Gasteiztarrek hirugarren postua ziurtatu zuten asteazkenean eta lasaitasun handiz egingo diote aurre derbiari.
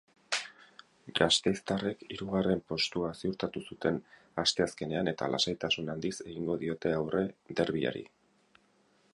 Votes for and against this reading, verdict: 6, 0, accepted